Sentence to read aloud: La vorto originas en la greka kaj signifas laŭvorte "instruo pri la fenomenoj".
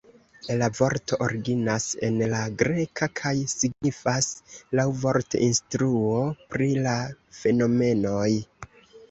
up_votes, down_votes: 2, 0